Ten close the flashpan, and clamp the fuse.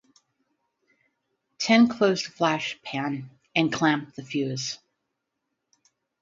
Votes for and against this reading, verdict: 0, 4, rejected